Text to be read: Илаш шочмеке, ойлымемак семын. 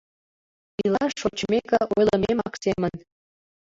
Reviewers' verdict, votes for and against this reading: rejected, 0, 2